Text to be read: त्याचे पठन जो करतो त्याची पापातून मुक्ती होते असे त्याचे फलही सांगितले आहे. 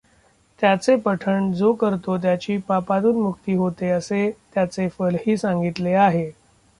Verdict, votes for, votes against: accepted, 2, 1